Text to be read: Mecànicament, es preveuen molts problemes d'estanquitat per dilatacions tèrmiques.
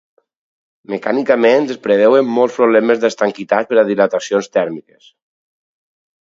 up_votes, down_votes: 2, 2